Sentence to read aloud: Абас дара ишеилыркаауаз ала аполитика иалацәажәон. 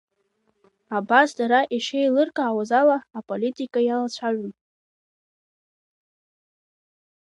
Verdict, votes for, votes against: rejected, 1, 2